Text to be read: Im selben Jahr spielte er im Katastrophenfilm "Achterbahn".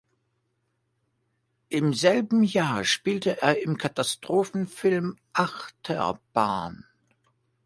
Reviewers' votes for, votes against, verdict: 2, 0, accepted